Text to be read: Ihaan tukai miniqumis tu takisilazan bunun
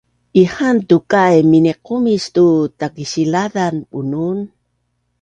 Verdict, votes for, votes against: accepted, 2, 0